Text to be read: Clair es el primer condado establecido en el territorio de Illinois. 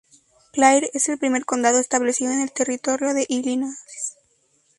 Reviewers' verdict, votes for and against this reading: rejected, 0, 2